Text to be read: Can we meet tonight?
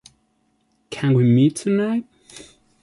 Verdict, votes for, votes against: accepted, 2, 0